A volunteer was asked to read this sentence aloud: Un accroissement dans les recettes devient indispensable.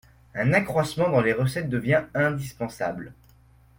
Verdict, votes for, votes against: accepted, 2, 0